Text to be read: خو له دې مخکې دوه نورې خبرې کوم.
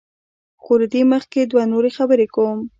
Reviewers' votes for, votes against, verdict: 0, 2, rejected